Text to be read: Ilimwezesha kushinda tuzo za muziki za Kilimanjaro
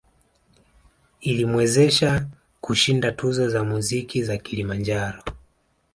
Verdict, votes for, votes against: accepted, 2, 1